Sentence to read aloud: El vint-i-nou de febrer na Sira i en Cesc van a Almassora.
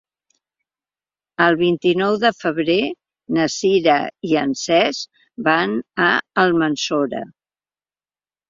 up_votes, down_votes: 0, 2